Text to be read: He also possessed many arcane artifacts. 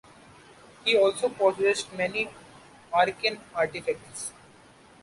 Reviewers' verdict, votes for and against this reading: rejected, 1, 2